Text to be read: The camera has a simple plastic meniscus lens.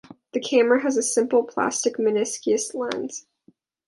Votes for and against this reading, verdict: 2, 1, accepted